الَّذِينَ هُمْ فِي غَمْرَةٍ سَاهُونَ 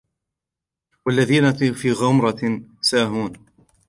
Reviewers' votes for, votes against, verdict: 1, 2, rejected